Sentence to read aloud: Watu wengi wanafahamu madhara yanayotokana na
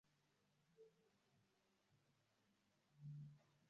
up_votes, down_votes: 0, 2